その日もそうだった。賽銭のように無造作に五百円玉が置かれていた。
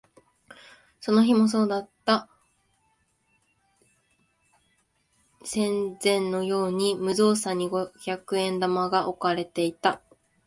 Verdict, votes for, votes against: rejected, 1, 2